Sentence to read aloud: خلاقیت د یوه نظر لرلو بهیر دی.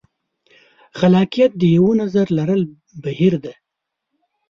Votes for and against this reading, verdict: 1, 2, rejected